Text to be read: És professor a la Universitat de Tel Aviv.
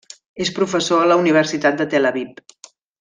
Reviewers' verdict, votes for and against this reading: accepted, 3, 0